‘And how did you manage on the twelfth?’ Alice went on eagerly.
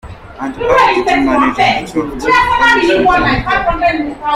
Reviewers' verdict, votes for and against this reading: rejected, 0, 2